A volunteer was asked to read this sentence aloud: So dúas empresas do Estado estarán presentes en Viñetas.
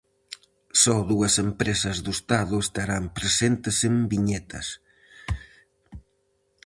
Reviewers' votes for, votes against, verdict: 4, 0, accepted